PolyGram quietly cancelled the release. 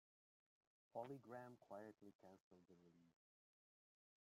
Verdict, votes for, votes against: rejected, 0, 2